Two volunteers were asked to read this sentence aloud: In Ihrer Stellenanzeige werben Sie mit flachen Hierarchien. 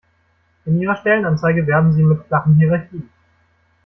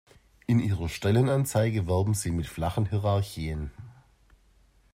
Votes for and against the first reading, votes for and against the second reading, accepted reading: 0, 2, 2, 0, second